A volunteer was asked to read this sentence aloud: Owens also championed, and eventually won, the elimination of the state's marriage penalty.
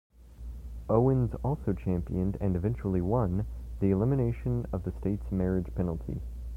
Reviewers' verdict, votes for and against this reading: accepted, 3, 0